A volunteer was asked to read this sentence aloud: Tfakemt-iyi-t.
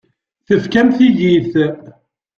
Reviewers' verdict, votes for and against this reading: rejected, 1, 2